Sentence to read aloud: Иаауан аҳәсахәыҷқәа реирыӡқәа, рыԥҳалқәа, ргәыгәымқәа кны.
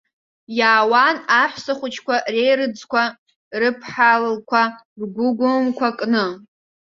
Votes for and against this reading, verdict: 0, 2, rejected